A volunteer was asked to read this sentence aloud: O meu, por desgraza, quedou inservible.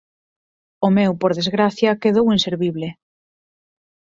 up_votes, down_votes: 4, 0